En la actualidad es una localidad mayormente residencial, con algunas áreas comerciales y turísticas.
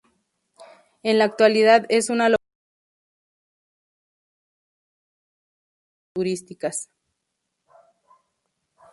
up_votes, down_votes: 0, 2